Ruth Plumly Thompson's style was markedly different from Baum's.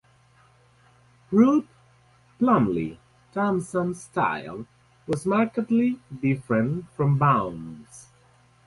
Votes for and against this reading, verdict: 2, 2, rejected